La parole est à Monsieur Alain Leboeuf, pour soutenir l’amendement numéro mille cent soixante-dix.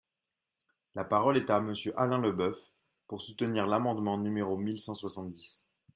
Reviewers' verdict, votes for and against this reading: accepted, 2, 0